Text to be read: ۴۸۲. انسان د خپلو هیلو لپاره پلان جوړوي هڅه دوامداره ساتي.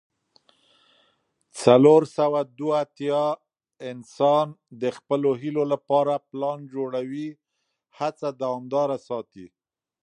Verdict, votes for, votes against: rejected, 0, 2